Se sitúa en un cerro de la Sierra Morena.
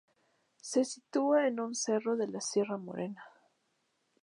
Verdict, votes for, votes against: accepted, 2, 0